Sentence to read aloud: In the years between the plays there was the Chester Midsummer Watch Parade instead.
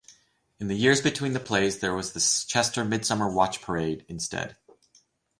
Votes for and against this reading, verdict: 2, 2, rejected